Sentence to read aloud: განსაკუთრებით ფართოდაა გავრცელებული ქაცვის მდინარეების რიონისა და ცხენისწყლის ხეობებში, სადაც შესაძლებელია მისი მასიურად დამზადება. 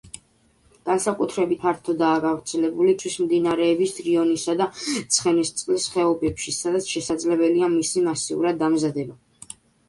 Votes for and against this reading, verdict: 1, 2, rejected